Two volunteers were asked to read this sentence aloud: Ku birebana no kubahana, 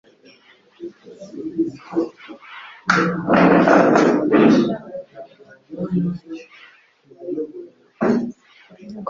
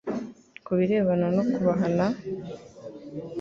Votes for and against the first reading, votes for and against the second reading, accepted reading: 1, 2, 2, 0, second